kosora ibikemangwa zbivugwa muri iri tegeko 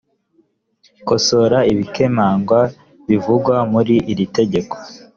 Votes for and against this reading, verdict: 1, 2, rejected